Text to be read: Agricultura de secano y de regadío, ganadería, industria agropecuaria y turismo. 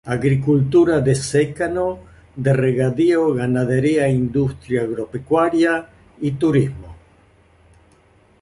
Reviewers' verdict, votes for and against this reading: rejected, 1, 2